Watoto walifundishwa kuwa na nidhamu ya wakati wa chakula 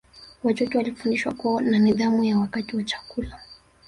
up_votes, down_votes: 3, 1